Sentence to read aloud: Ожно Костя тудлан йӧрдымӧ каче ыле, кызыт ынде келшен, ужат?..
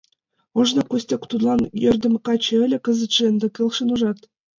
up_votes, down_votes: 2, 1